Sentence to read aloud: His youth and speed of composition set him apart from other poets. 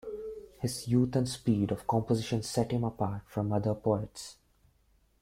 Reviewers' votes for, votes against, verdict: 1, 2, rejected